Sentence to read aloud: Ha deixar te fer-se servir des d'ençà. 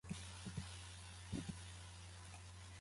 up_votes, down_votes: 0, 2